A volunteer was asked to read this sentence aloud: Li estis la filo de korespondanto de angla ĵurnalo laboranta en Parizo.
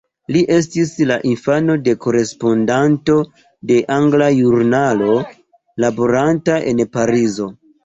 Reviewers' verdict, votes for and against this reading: rejected, 0, 2